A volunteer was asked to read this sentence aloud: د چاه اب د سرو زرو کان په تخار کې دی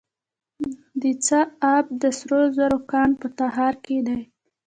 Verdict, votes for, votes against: accepted, 2, 1